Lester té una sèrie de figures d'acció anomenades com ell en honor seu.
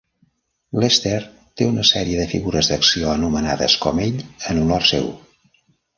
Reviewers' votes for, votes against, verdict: 1, 2, rejected